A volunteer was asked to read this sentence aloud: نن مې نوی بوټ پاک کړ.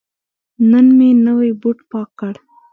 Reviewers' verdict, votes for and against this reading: accepted, 4, 0